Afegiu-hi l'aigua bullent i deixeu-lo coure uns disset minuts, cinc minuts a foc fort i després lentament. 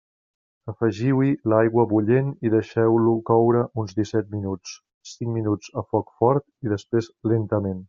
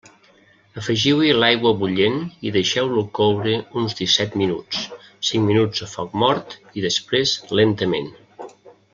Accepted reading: first